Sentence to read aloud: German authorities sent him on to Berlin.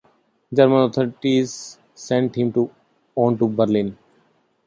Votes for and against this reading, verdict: 0, 2, rejected